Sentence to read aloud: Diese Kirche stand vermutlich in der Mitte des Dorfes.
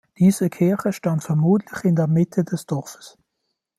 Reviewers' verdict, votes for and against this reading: accepted, 2, 0